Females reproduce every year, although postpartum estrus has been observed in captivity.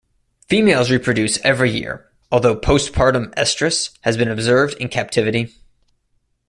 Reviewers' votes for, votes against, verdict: 2, 0, accepted